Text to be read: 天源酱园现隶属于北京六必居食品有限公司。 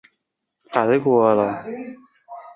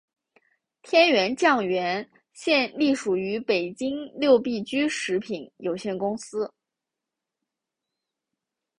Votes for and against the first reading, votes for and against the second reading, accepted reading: 0, 2, 2, 0, second